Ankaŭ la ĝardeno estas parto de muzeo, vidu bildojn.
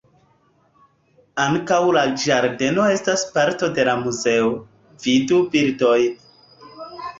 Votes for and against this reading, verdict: 0, 3, rejected